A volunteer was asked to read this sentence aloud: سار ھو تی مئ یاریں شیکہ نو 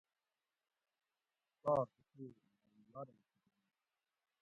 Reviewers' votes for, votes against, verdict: 0, 2, rejected